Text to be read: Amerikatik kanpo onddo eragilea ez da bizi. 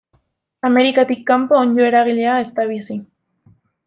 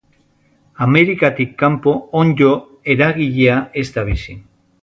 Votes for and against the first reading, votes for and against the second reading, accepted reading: 2, 1, 1, 2, first